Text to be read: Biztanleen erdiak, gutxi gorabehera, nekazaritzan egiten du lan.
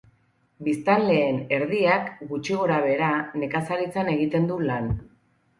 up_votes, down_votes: 4, 0